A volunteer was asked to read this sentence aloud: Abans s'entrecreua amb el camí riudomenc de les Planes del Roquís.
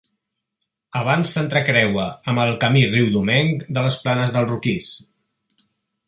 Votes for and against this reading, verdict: 2, 0, accepted